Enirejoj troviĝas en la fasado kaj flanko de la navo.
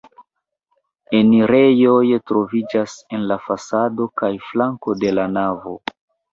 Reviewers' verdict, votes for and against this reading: rejected, 0, 2